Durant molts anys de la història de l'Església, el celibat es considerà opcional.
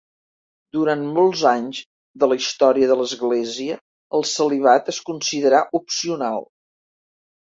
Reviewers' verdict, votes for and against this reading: accepted, 4, 0